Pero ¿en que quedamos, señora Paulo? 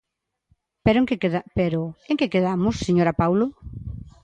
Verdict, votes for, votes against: rejected, 0, 2